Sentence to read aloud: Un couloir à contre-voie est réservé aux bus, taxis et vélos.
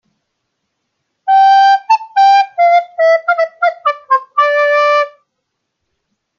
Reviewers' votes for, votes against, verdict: 0, 2, rejected